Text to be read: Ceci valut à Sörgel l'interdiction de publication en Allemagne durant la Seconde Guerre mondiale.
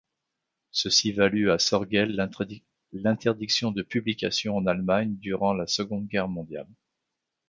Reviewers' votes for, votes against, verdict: 0, 2, rejected